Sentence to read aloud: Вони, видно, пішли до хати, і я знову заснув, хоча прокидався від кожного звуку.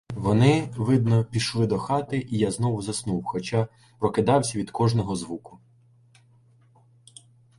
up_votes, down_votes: 2, 0